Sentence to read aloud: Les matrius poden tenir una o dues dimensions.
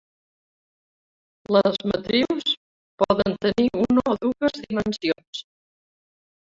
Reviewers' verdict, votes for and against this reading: rejected, 0, 2